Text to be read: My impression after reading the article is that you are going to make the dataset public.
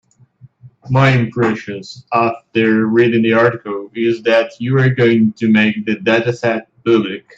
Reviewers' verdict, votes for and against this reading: rejected, 1, 2